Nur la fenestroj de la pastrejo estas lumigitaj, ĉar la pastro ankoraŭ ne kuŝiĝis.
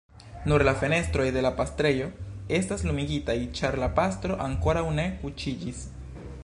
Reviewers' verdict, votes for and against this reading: rejected, 1, 3